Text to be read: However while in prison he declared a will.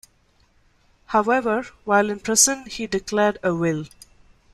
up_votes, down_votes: 0, 2